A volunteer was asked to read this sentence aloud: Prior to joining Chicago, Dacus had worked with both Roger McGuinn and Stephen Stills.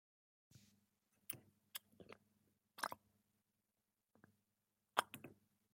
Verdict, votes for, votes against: rejected, 0, 2